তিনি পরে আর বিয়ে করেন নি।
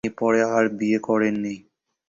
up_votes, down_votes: 2, 0